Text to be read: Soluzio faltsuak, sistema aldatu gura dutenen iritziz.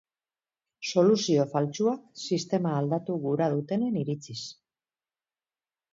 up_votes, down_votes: 4, 0